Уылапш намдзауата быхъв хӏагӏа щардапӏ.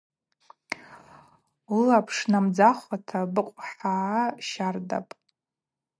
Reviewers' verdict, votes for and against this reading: rejected, 0, 2